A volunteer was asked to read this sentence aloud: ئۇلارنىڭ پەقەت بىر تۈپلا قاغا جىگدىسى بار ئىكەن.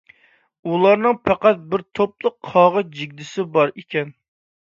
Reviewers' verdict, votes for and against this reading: rejected, 1, 2